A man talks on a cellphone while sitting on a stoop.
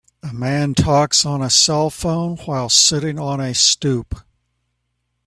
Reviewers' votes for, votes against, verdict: 2, 0, accepted